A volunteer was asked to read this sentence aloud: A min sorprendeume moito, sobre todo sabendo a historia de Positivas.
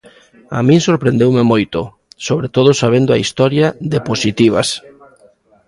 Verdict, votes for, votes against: accepted, 2, 0